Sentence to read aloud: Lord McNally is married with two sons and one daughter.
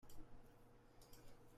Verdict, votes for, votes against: rejected, 0, 2